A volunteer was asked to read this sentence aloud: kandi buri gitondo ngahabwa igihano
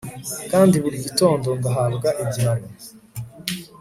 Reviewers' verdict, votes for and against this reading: accepted, 2, 0